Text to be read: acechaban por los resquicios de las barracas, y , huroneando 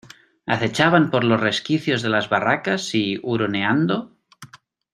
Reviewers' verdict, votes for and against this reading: accepted, 2, 0